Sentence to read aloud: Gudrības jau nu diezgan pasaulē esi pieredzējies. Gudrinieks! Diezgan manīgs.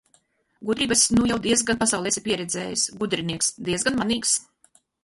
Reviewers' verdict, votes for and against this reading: rejected, 0, 4